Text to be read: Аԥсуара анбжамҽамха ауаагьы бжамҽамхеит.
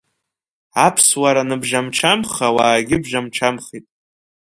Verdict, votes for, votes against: rejected, 1, 2